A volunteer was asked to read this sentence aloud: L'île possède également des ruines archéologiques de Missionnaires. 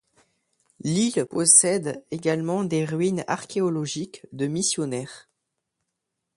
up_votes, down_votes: 2, 0